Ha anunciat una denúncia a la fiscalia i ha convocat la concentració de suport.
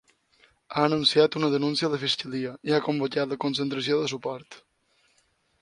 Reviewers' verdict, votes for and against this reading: rejected, 2, 4